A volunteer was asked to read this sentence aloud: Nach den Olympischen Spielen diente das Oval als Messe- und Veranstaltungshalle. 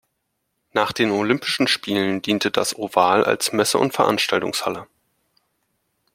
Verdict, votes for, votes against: accepted, 2, 0